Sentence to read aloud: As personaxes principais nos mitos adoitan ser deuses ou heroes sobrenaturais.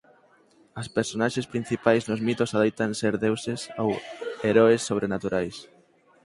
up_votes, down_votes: 4, 0